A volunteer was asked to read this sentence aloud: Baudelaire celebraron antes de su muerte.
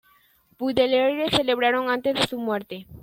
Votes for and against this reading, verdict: 0, 2, rejected